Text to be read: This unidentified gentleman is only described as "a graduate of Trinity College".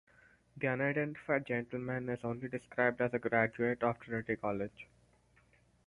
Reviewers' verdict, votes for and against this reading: rejected, 0, 4